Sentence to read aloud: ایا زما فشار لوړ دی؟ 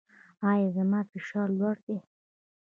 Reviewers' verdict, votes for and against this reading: accepted, 2, 0